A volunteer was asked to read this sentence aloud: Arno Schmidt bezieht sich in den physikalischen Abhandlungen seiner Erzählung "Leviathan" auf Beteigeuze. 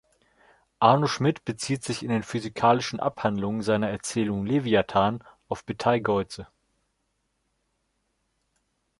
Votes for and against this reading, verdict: 1, 2, rejected